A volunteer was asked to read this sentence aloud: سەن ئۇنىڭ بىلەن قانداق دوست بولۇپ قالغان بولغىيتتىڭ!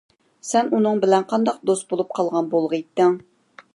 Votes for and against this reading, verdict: 2, 0, accepted